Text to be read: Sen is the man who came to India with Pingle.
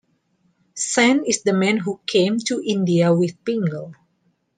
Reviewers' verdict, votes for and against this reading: accepted, 2, 0